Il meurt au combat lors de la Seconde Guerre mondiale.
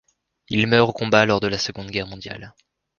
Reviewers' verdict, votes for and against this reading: accepted, 3, 0